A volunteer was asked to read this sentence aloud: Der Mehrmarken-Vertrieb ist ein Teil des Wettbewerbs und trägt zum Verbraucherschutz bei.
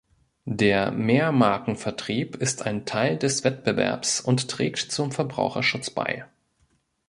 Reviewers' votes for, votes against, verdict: 2, 1, accepted